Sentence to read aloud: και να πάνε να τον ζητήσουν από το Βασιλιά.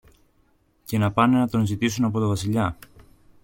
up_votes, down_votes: 2, 0